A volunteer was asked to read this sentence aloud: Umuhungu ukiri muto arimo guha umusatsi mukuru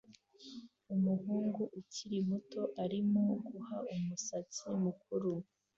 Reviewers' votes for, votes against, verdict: 2, 0, accepted